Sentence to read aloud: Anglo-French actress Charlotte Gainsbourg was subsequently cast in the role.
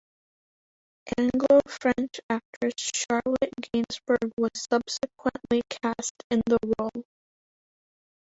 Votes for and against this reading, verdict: 2, 1, accepted